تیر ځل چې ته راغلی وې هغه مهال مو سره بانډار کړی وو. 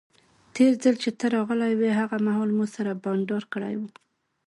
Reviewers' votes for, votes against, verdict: 2, 0, accepted